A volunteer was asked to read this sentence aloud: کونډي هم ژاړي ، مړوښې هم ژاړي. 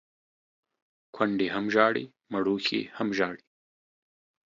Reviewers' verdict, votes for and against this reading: accepted, 2, 0